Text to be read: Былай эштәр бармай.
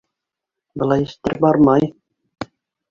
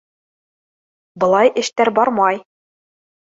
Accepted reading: second